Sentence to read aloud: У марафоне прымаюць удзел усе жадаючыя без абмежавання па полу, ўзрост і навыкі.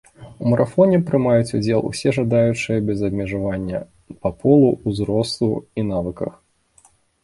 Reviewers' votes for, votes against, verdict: 1, 2, rejected